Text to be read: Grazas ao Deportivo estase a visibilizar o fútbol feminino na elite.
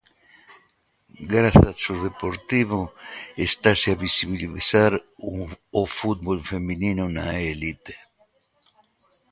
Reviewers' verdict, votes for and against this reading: rejected, 0, 2